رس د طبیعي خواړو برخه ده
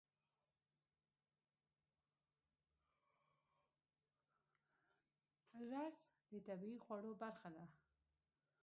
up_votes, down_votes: 1, 2